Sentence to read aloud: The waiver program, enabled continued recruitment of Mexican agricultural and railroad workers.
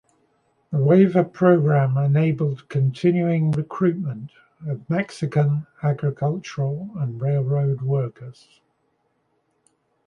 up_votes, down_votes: 1, 2